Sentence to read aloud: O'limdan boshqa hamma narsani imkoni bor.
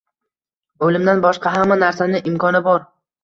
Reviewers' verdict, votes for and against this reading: rejected, 0, 2